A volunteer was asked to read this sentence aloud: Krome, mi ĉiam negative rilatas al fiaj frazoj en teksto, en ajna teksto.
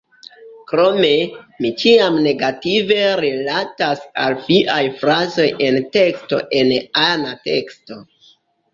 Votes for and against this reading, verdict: 0, 2, rejected